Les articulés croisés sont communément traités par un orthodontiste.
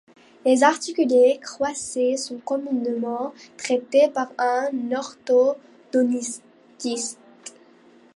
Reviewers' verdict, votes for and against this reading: rejected, 0, 2